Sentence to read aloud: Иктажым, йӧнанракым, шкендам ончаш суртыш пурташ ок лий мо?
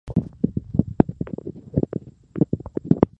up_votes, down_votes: 0, 2